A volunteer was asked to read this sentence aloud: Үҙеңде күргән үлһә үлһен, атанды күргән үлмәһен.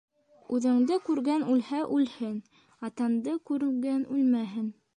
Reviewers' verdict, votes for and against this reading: rejected, 0, 2